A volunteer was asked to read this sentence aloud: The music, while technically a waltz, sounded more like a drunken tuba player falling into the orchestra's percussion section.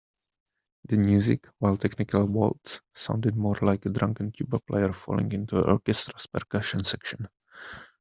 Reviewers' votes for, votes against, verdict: 0, 2, rejected